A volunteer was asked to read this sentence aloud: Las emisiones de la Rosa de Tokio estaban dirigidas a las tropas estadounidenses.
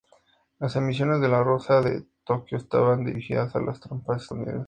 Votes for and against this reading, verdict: 0, 2, rejected